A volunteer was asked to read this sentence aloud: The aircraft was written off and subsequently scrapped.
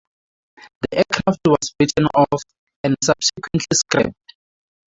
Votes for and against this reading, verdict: 0, 8, rejected